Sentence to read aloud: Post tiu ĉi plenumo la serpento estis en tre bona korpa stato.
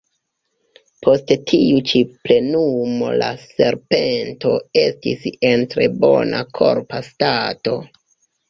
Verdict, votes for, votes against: accepted, 3, 1